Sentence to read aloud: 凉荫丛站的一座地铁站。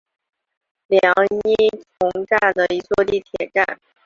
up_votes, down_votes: 4, 0